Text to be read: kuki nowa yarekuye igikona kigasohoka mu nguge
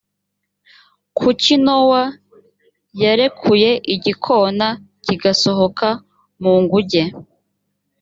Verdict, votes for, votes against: accepted, 3, 0